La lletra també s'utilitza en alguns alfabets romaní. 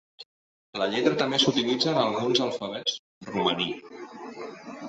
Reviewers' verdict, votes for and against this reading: accepted, 2, 0